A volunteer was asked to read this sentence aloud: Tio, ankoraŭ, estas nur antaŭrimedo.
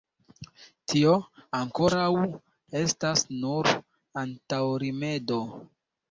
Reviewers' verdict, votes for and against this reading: accepted, 2, 1